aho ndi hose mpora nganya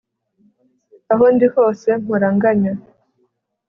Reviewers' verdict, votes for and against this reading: accepted, 2, 0